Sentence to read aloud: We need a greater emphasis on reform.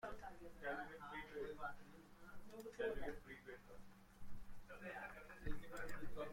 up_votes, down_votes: 0, 2